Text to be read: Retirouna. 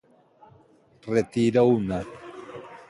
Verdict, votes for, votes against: rejected, 1, 2